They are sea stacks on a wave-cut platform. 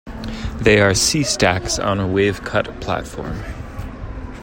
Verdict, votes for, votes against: accepted, 3, 0